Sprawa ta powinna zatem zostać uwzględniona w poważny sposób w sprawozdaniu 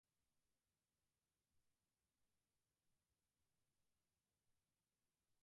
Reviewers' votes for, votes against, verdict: 0, 4, rejected